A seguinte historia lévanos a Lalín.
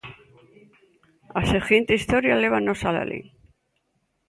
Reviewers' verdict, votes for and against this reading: accepted, 2, 0